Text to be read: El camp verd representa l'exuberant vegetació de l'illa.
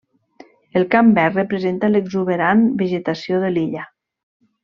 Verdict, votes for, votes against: accepted, 3, 0